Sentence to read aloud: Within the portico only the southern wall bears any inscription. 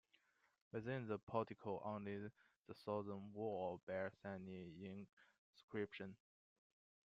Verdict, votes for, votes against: rejected, 0, 2